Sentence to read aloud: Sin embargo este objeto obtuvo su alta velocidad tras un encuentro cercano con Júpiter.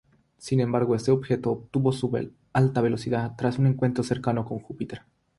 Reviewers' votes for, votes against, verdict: 3, 0, accepted